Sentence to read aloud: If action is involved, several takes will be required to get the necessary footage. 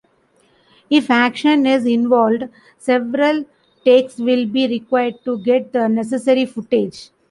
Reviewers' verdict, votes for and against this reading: rejected, 1, 2